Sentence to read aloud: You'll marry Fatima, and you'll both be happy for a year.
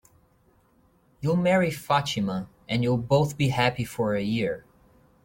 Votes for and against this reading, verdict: 3, 0, accepted